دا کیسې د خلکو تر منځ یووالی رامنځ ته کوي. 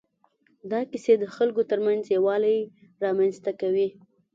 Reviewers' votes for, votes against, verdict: 2, 0, accepted